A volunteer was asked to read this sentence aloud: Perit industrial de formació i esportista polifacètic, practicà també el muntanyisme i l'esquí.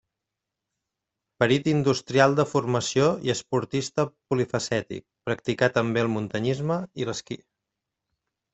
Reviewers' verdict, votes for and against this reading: rejected, 1, 2